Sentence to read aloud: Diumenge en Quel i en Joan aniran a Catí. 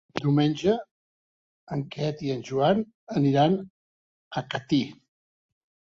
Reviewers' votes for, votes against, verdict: 0, 2, rejected